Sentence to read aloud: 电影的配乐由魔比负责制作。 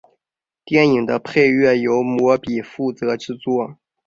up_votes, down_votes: 2, 0